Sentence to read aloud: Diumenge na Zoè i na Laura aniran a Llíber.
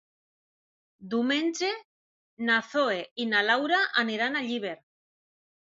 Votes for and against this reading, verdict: 2, 1, accepted